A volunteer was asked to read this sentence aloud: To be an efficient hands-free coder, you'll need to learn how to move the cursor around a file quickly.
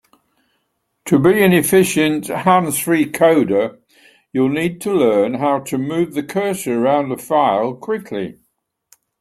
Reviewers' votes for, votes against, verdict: 3, 0, accepted